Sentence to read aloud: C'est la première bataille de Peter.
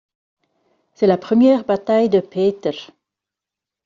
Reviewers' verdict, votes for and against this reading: rejected, 1, 2